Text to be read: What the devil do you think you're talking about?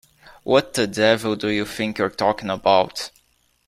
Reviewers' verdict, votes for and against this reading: accepted, 2, 0